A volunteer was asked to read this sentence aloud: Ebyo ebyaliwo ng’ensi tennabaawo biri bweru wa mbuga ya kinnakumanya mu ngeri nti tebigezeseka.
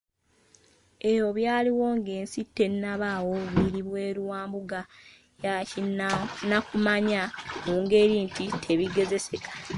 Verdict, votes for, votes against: accepted, 2, 1